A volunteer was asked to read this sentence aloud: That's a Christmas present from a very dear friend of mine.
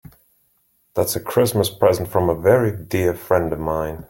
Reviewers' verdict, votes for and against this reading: accepted, 3, 0